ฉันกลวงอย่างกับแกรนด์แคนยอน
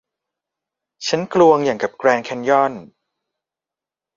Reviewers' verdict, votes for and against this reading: accepted, 2, 1